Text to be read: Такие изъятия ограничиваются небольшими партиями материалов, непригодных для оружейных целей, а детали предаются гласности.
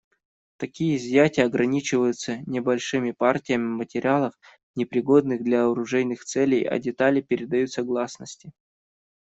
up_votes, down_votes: 1, 2